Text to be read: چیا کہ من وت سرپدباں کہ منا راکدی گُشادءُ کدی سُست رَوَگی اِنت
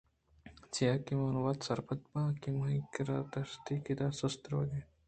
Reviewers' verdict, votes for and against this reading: accepted, 2, 0